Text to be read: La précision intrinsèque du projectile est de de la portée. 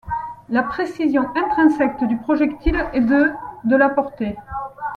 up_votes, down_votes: 0, 2